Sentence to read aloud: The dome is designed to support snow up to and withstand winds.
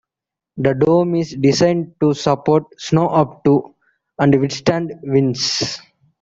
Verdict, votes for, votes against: accepted, 2, 1